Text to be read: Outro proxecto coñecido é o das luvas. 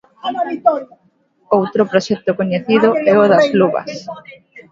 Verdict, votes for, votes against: rejected, 0, 2